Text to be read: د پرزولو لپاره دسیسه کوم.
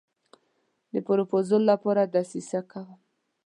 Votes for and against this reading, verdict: 2, 0, accepted